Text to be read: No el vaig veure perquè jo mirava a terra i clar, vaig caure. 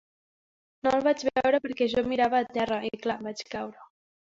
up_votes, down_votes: 1, 2